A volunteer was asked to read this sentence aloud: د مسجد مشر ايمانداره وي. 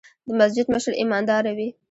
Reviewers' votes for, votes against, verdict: 2, 0, accepted